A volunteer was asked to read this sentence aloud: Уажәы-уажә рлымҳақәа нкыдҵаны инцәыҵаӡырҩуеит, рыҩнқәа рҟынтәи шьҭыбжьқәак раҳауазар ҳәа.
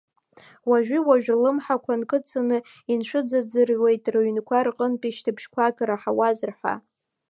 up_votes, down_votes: 2, 0